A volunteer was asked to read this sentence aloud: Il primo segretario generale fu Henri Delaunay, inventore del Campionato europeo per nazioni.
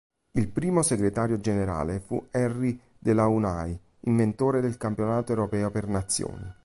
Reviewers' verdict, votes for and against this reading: rejected, 1, 2